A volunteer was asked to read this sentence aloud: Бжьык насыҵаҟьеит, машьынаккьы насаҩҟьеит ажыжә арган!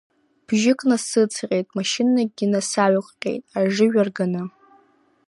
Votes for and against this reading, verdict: 0, 2, rejected